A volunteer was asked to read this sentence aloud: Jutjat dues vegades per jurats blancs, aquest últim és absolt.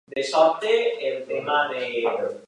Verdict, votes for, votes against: rejected, 1, 2